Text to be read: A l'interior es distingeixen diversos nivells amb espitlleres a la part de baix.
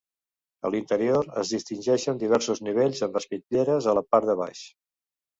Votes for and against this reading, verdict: 2, 0, accepted